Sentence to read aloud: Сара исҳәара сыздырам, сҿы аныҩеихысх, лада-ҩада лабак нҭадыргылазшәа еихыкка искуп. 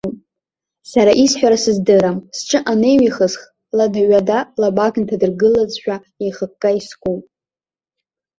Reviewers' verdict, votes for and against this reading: rejected, 1, 2